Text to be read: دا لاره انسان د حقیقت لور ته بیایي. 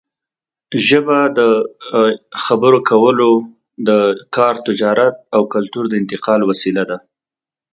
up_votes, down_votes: 0, 2